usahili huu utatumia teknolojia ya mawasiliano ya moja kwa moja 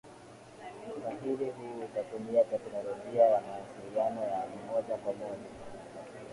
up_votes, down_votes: 1, 2